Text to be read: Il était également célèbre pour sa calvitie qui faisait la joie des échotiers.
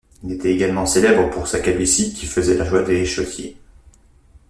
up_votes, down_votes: 0, 2